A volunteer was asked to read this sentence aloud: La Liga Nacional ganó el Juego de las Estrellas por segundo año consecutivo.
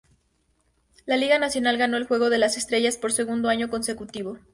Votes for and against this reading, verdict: 2, 0, accepted